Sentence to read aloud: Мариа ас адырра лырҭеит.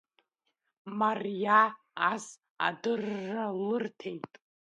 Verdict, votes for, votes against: rejected, 0, 2